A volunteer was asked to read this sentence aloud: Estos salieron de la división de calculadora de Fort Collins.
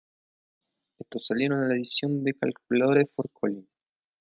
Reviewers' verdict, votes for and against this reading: rejected, 0, 2